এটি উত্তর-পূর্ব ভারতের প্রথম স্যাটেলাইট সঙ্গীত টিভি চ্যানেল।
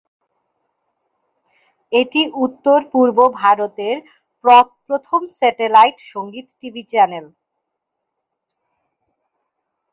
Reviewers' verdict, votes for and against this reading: rejected, 1, 3